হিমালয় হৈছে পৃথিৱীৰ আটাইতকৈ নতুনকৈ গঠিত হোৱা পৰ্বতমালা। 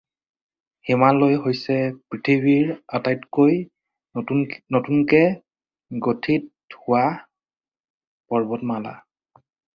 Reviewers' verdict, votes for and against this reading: rejected, 2, 4